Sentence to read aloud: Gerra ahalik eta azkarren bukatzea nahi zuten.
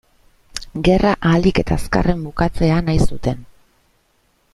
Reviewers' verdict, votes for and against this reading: accepted, 2, 0